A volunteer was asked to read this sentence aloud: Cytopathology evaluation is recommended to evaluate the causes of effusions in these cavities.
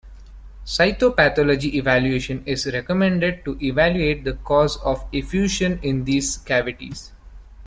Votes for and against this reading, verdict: 2, 1, accepted